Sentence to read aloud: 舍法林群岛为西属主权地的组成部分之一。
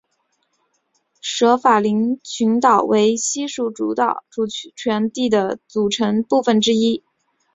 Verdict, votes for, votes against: rejected, 0, 2